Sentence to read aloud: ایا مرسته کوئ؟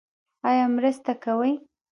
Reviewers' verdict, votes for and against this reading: rejected, 1, 2